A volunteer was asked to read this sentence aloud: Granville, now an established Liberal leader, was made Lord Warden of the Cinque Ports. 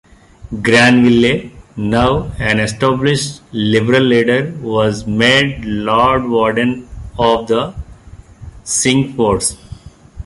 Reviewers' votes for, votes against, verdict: 0, 2, rejected